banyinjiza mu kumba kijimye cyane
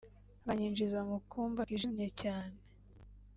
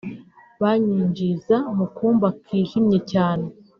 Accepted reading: second